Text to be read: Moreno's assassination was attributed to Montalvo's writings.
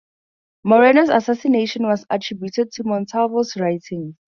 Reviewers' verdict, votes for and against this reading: rejected, 0, 2